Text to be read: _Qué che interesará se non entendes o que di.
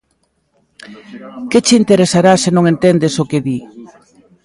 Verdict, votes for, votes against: rejected, 1, 2